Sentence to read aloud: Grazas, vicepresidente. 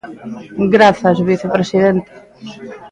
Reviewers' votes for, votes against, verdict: 2, 0, accepted